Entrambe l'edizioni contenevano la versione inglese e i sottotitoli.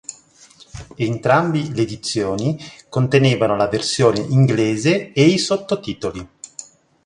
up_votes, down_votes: 0, 2